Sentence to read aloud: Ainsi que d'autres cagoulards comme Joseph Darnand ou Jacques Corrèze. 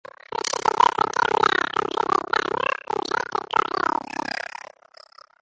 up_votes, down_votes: 0, 2